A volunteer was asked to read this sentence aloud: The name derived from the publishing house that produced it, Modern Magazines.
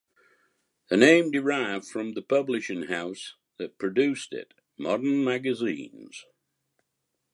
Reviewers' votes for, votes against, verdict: 2, 0, accepted